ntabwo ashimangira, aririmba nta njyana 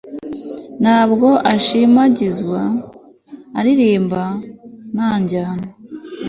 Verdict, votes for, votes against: accepted, 2, 0